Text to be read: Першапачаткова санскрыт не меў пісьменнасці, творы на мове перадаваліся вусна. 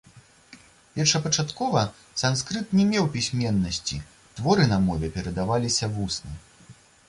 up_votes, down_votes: 2, 0